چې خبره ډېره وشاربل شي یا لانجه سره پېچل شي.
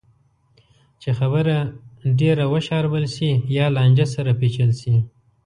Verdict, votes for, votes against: accepted, 2, 0